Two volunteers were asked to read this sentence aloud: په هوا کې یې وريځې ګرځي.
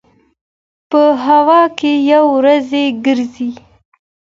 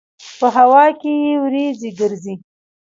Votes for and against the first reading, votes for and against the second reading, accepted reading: 2, 0, 1, 2, first